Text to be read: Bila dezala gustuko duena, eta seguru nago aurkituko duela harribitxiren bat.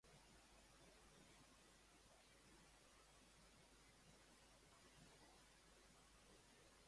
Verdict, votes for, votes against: rejected, 0, 4